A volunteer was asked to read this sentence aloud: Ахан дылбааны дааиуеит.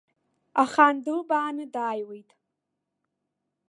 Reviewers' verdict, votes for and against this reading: accepted, 2, 1